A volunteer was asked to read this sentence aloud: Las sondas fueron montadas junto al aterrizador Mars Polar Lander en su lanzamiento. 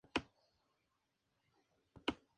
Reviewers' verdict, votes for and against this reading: rejected, 0, 2